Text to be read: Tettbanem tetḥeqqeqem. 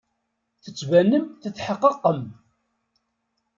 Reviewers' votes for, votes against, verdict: 0, 2, rejected